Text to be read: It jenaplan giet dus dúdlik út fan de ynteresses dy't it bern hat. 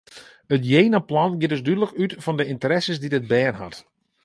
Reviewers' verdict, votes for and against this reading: accepted, 2, 0